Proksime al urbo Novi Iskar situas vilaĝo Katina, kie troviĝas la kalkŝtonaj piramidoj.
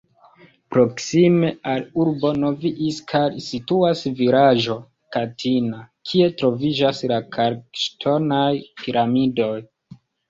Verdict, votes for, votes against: rejected, 1, 2